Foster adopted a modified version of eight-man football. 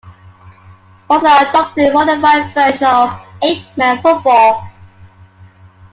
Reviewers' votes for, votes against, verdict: 1, 2, rejected